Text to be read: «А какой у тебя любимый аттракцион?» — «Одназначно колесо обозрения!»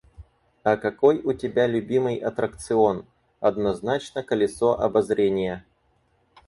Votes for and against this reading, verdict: 0, 4, rejected